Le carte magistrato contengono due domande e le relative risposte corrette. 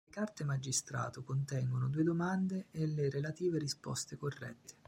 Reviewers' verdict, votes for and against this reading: rejected, 0, 2